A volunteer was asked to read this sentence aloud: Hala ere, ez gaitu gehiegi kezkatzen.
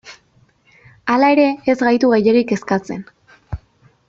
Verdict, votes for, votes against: accepted, 2, 0